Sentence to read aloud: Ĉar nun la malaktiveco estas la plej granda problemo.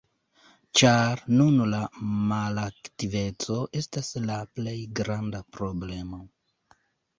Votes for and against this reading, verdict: 2, 1, accepted